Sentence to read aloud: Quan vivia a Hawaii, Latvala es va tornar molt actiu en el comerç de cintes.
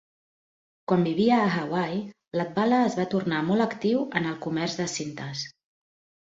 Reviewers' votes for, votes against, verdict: 2, 0, accepted